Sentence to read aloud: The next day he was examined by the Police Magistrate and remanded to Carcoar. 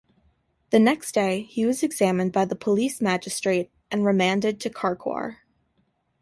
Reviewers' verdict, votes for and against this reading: accepted, 2, 0